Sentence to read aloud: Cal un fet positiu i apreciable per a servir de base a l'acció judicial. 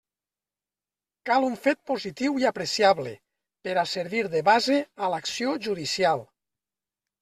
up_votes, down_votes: 3, 0